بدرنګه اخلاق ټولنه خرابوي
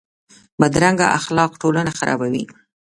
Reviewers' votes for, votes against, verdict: 2, 1, accepted